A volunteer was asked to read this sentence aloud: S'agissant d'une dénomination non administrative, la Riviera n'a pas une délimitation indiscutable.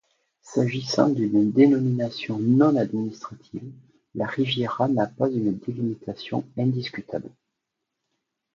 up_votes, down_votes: 2, 0